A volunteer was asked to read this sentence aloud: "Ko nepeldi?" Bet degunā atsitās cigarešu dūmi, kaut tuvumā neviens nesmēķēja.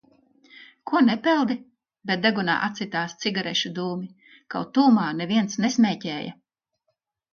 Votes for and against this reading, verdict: 2, 0, accepted